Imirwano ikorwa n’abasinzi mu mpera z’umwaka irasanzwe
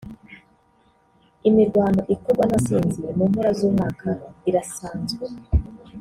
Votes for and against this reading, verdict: 0, 2, rejected